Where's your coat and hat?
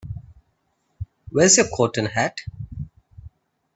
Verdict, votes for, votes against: accepted, 2, 0